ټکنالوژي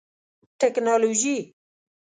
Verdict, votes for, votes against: accepted, 2, 0